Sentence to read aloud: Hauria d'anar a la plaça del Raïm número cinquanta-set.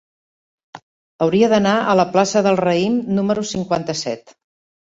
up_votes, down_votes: 3, 0